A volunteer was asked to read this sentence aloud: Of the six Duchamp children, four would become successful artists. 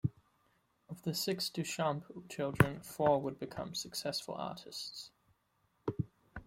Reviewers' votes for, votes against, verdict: 2, 0, accepted